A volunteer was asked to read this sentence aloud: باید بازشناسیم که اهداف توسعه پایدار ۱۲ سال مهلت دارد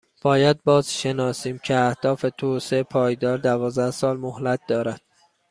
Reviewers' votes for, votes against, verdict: 0, 2, rejected